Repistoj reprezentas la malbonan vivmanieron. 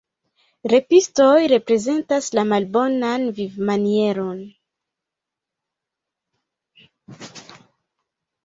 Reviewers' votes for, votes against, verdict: 1, 2, rejected